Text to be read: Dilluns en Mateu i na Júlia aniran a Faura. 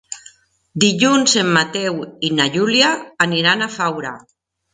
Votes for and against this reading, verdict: 3, 0, accepted